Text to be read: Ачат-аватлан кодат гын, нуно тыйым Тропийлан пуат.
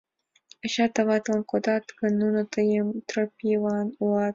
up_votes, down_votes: 2, 0